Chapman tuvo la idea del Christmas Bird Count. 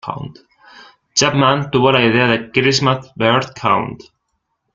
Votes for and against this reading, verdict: 1, 2, rejected